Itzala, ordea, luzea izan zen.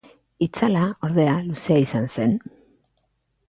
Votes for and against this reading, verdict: 2, 0, accepted